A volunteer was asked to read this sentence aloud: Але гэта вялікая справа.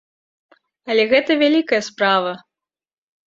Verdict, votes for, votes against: accepted, 3, 0